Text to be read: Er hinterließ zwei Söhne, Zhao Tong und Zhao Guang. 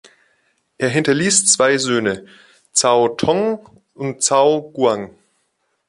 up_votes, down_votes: 2, 1